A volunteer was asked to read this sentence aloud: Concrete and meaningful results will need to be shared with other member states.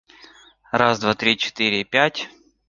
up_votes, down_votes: 0, 2